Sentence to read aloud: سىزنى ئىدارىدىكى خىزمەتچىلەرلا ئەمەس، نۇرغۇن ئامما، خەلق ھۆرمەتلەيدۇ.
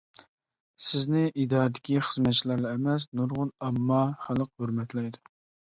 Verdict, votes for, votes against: accepted, 2, 0